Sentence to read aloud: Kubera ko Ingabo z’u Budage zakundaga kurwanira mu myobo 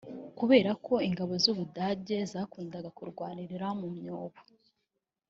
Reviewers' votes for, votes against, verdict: 0, 2, rejected